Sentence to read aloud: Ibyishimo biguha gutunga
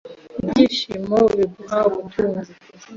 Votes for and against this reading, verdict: 0, 2, rejected